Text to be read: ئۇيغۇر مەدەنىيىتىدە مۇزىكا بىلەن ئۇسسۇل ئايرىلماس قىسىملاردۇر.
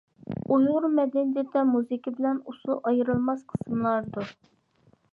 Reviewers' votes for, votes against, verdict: 1, 2, rejected